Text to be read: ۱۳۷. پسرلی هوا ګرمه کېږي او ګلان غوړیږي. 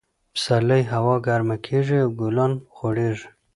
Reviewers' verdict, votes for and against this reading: rejected, 0, 2